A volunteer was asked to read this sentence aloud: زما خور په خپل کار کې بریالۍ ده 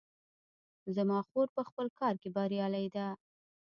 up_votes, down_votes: 2, 1